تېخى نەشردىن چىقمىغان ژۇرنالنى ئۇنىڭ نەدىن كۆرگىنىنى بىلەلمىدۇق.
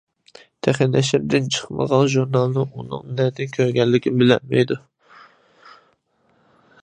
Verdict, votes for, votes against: rejected, 0, 2